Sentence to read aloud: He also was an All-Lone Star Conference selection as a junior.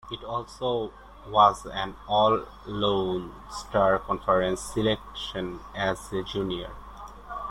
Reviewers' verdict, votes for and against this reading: accepted, 2, 1